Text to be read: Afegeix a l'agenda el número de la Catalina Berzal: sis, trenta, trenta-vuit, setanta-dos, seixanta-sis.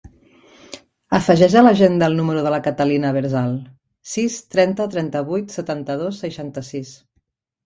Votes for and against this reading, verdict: 2, 1, accepted